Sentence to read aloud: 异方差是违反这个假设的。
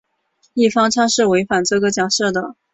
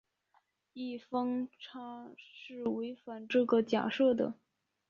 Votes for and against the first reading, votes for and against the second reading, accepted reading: 8, 0, 0, 2, first